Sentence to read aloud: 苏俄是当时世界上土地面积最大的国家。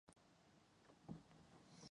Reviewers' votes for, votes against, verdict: 1, 3, rejected